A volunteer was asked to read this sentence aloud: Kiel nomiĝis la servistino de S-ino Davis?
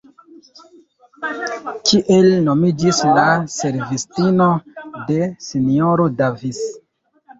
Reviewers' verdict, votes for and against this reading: rejected, 0, 3